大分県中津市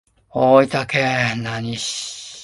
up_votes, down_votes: 0, 2